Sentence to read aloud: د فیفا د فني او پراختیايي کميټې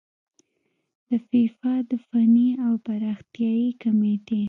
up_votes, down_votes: 2, 0